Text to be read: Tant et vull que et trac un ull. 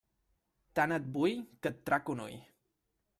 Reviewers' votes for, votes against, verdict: 2, 1, accepted